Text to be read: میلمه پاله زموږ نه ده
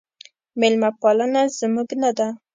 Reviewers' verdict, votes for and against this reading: rejected, 0, 2